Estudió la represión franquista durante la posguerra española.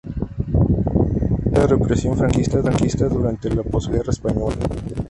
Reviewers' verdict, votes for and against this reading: accepted, 2, 0